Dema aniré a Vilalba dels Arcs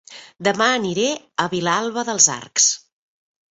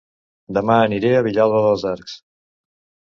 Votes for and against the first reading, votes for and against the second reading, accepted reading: 3, 1, 1, 2, first